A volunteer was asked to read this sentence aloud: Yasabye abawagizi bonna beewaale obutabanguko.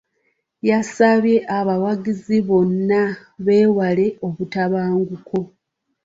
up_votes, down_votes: 2, 0